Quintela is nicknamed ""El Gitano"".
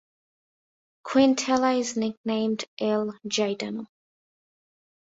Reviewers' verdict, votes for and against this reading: accepted, 2, 0